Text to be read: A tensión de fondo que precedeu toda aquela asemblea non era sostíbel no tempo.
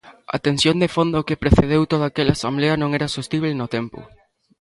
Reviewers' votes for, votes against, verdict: 0, 2, rejected